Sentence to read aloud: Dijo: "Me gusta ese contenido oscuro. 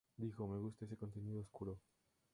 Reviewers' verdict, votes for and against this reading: accepted, 2, 0